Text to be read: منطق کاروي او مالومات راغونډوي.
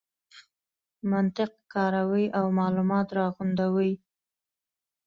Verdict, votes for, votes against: accepted, 2, 0